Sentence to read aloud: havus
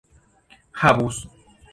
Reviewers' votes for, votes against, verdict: 2, 0, accepted